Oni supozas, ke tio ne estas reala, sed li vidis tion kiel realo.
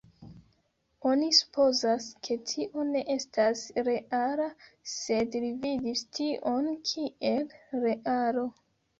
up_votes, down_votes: 1, 2